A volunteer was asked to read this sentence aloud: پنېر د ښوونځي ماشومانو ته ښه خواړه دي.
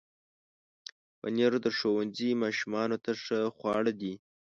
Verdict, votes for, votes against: accepted, 2, 0